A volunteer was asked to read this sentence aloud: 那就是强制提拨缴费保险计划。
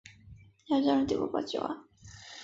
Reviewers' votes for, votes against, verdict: 0, 4, rejected